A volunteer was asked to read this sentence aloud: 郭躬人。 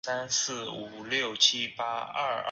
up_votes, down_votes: 0, 2